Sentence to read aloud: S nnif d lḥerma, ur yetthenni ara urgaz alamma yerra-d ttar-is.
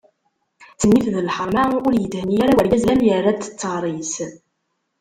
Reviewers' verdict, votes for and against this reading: rejected, 0, 2